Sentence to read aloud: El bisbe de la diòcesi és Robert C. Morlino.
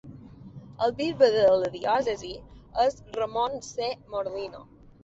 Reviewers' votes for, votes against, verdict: 1, 3, rejected